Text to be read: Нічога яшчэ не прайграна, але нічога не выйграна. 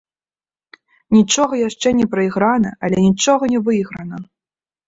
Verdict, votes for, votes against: accepted, 2, 0